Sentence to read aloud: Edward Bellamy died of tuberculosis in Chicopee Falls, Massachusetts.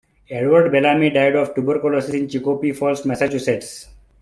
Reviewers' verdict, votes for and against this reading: rejected, 0, 2